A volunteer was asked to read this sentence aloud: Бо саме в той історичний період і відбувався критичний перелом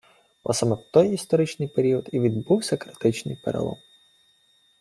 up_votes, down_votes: 2, 0